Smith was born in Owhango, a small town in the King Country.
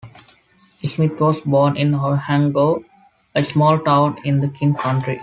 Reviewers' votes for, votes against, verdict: 2, 0, accepted